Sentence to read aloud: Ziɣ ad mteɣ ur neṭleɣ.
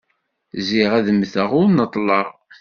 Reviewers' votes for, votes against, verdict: 2, 0, accepted